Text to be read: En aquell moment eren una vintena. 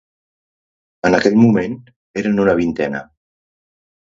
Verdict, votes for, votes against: accepted, 2, 0